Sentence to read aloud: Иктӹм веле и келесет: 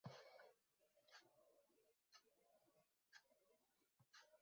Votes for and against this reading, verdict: 0, 2, rejected